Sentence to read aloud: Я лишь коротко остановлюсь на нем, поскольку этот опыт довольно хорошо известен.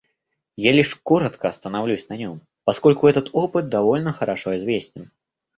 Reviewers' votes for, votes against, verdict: 2, 0, accepted